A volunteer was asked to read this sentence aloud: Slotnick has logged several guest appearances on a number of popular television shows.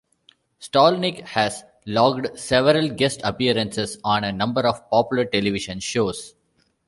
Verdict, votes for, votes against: rejected, 1, 2